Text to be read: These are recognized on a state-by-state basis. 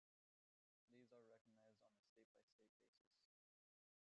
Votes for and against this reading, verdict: 1, 2, rejected